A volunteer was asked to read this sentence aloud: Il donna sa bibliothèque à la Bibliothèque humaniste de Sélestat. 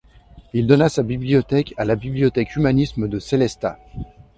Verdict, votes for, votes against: rejected, 1, 2